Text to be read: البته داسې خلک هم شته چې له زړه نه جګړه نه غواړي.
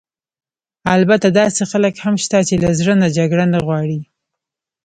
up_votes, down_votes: 1, 2